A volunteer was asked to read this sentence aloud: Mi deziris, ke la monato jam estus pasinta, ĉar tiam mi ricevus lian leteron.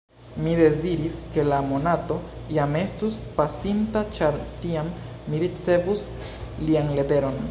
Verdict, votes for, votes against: accepted, 2, 0